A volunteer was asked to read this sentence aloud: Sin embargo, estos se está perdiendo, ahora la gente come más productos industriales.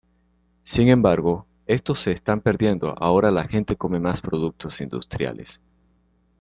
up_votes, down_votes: 1, 2